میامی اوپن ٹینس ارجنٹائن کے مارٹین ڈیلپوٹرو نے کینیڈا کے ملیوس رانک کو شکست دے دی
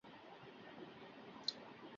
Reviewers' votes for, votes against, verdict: 0, 2, rejected